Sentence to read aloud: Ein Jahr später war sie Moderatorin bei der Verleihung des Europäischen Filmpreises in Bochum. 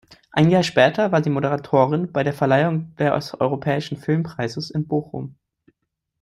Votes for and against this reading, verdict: 0, 2, rejected